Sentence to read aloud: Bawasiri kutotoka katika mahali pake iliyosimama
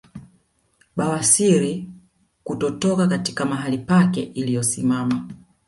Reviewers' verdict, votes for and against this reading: rejected, 0, 2